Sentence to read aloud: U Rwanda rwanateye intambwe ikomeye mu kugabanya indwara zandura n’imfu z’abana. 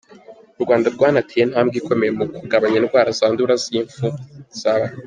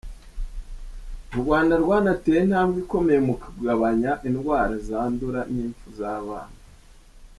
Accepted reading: second